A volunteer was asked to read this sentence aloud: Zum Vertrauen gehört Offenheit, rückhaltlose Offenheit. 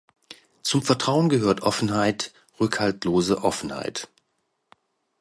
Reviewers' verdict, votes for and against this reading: accepted, 2, 0